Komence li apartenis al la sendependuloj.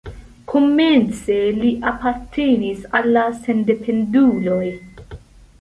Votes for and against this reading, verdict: 2, 0, accepted